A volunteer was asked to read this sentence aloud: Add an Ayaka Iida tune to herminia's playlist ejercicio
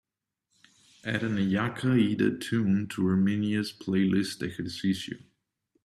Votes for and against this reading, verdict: 2, 3, rejected